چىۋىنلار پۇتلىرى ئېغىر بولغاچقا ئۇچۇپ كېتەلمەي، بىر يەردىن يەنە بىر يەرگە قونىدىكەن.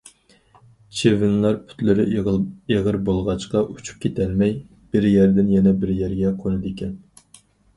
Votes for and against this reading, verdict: 0, 4, rejected